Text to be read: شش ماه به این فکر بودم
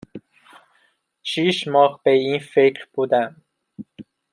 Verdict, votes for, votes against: rejected, 1, 2